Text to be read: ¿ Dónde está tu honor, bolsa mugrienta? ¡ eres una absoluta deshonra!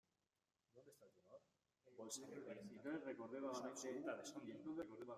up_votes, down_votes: 0, 2